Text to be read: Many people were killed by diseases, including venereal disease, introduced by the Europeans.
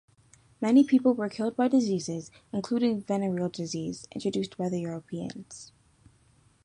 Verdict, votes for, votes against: rejected, 1, 2